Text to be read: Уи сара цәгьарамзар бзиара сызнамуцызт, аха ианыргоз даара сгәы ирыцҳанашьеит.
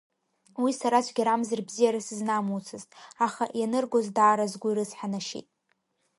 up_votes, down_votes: 3, 0